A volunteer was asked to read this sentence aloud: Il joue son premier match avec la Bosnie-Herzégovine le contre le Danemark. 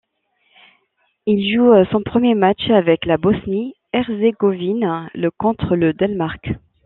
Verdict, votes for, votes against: rejected, 1, 2